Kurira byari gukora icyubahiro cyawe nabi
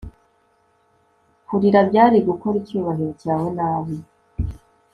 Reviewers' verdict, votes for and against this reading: rejected, 1, 2